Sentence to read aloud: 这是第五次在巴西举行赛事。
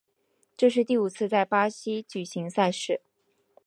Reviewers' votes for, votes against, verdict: 3, 0, accepted